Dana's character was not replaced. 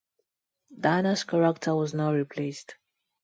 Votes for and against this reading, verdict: 4, 0, accepted